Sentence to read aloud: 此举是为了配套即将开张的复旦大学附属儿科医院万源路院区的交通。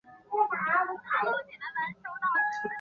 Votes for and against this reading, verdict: 0, 2, rejected